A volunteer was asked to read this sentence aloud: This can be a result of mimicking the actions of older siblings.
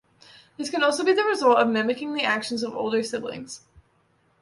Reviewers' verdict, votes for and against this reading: rejected, 0, 2